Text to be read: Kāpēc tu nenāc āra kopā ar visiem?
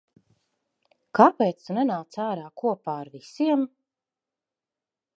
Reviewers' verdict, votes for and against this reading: accepted, 2, 0